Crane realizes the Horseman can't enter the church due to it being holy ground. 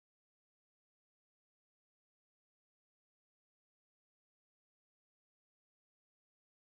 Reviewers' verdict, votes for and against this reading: rejected, 0, 2